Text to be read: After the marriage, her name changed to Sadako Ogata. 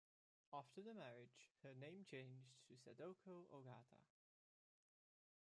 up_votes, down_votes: 1, 2